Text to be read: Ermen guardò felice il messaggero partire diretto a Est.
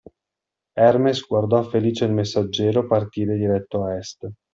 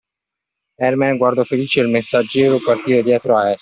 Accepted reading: second